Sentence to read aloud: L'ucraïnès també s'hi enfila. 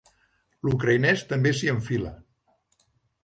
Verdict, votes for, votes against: accepted, 3, 0